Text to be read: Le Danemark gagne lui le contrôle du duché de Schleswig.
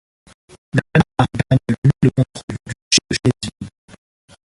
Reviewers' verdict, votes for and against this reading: rejected, 0, 2